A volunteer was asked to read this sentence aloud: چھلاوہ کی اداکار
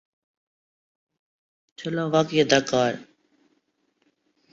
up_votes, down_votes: 3, 4